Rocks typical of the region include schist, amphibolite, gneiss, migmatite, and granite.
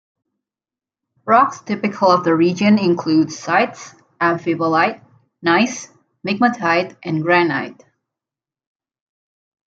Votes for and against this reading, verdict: 2, 0, accepted